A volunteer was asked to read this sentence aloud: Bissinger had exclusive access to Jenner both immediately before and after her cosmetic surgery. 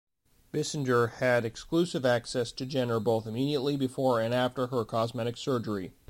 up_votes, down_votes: 2, 0